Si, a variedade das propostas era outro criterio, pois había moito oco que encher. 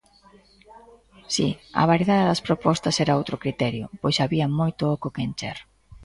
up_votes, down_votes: 2, 0